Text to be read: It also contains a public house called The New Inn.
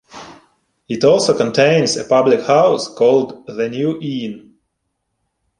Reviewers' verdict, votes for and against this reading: accepted, 2, 1